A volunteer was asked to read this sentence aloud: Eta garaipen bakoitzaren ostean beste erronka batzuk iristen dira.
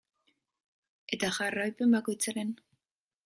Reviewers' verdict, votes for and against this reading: rejected, 0, 2